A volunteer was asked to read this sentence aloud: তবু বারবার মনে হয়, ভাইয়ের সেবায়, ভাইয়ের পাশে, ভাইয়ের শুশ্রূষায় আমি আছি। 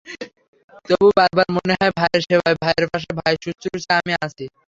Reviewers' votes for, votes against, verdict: 0, 3, rejected